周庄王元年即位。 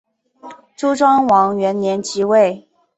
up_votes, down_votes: 4, 0